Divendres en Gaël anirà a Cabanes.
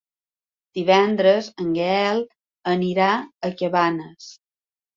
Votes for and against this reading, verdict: 3, 0, accepted